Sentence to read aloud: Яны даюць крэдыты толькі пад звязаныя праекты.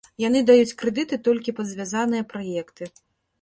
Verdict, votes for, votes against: accepted, 2, 0